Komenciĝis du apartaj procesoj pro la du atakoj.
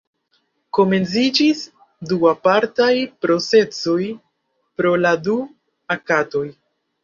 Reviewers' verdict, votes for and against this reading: rejected, 0, 2